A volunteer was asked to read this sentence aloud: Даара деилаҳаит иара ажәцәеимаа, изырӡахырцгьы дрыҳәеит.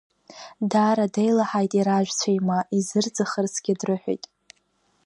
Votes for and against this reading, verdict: 1, 2, rejected